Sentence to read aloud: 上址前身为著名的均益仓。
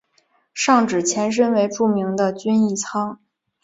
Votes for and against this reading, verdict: 4, 0, accepted